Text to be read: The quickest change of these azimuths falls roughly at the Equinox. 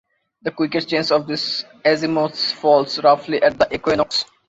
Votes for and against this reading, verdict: 2, 0, accepted